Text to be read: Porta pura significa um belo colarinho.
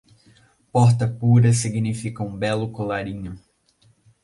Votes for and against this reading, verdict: 2, 0, accepted